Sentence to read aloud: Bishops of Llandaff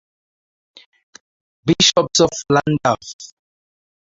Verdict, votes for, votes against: rejected, 4, 6